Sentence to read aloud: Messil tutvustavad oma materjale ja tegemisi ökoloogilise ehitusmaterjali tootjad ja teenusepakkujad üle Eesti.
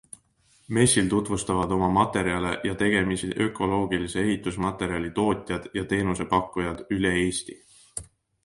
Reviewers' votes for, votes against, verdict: 2, 0, accepted